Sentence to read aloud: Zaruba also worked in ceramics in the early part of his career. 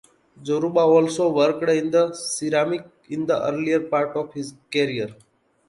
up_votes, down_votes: 0, 2